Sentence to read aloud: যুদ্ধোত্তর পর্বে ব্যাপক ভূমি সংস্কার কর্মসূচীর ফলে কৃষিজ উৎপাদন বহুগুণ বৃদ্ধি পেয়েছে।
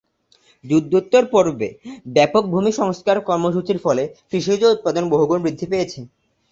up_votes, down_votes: 2, 0